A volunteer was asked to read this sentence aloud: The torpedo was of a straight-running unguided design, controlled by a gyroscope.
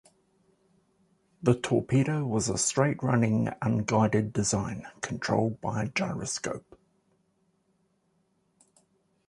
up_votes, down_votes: 2, 0